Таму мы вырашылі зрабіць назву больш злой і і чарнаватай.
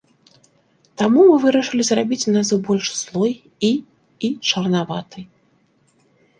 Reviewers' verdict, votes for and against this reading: accepted, 2, 0